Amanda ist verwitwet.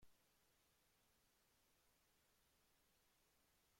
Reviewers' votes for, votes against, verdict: 0, 2, rejected